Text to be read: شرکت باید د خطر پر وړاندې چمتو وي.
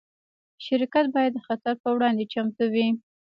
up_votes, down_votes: 2, 0